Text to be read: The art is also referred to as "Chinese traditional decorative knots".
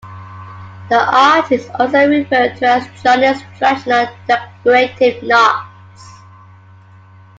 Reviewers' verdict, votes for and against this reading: rejected, 1, 2